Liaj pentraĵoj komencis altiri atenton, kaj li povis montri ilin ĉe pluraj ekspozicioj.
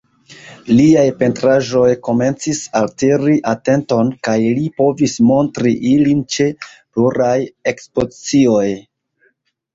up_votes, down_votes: 0, 2